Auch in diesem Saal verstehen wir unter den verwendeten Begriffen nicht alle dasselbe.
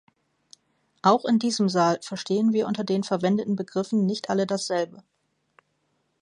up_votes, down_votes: 2, 0